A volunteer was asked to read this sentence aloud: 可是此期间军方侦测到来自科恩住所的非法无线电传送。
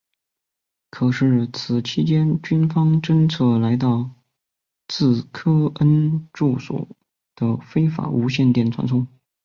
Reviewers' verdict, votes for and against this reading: rejected, 0, 2